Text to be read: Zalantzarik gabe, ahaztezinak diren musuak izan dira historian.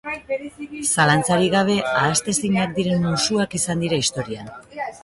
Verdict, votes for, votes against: rejected, 0, 3